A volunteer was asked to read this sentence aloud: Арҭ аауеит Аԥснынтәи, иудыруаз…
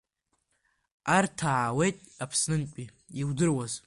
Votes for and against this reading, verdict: 2, 0, accepted